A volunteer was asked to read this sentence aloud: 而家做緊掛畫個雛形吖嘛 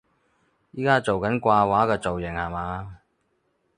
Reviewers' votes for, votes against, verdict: 0, 4, rejected